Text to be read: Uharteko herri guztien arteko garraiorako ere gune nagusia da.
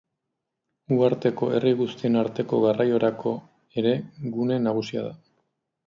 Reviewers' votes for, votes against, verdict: 2, 0, accepted